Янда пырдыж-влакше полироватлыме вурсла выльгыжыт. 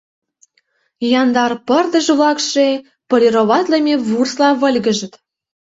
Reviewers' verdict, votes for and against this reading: rejected, 0, 2